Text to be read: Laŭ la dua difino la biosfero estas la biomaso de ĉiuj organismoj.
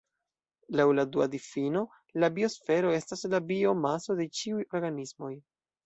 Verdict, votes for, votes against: accepted, 2, 0